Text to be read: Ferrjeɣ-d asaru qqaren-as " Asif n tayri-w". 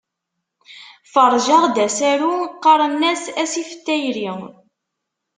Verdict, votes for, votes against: rejected, 1, 2